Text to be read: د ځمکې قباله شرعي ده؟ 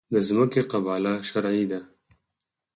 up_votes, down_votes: 0, 4